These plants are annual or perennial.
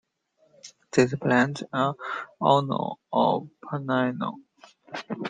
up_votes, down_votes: 1, 2